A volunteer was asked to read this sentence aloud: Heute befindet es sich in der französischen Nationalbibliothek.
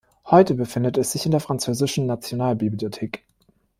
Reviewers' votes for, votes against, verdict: 2, 0, accepted